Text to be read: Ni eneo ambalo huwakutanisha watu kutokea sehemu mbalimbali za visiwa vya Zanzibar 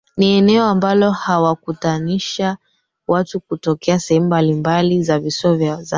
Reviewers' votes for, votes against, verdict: 0, 2, rejected